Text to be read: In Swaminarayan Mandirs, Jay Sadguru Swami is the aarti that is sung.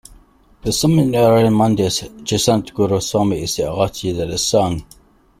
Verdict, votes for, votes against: accepted, 2, 1